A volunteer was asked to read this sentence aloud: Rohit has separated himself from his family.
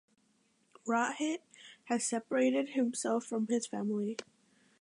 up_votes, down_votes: 3, 2